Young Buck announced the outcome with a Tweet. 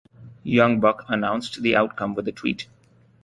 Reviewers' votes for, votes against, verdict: 2, 0, accepted